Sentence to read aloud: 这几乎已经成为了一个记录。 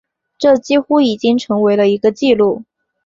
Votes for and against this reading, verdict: 2, 0, accepted